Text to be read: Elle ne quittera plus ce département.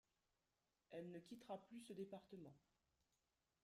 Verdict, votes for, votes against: rejected, 0, 3